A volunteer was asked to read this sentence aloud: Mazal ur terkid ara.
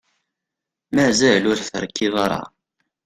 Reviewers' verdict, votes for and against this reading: rejected, 0, 2